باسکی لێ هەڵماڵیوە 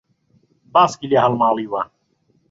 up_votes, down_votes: 2, 0